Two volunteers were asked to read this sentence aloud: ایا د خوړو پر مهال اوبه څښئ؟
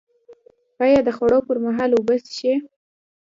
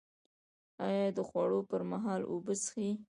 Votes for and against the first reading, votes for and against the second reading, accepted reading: 2, 0, 0, 2, first